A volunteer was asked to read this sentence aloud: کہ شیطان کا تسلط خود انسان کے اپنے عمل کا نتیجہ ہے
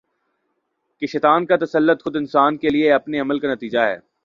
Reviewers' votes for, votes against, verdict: 0, 2, rejected